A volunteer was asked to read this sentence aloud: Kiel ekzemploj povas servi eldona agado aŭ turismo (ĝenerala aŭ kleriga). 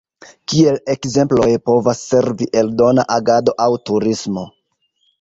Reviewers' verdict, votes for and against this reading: rejected, 1, 2